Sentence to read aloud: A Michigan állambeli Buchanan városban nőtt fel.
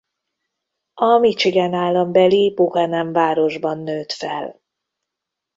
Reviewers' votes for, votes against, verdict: 2, 0, accepted